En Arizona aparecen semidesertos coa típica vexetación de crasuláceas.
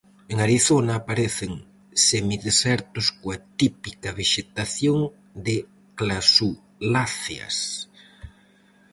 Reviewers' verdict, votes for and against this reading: rejected, 2, 2